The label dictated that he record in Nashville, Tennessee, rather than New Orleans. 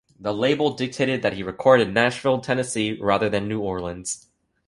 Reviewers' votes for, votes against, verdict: 2, 1, accepted